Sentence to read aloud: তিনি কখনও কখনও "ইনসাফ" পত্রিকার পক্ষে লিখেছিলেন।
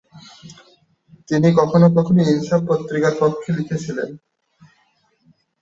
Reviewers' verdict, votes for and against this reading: accepted, 11, 4